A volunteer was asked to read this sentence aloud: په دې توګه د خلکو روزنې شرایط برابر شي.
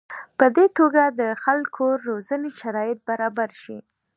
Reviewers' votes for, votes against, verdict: 3, 1, accepted